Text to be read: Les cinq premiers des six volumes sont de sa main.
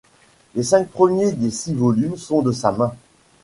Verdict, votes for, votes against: accepted, 2, 0